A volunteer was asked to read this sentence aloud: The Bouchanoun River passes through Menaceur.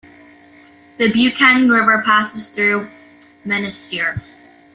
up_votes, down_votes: 2, 1